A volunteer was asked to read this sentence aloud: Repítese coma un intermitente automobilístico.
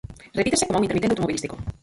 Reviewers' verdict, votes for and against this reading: rejected, 0, 4